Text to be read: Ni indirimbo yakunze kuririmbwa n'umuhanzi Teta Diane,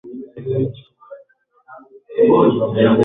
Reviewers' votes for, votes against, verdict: 1, 2, rejected